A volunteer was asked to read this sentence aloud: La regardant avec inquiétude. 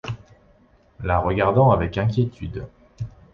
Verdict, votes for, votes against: accepted, 2, 0